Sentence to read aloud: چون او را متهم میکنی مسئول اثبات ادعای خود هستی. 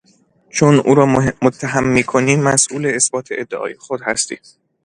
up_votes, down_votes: 0, 2